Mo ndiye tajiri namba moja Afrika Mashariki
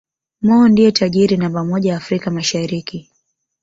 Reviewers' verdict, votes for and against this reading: accepted, 2, 1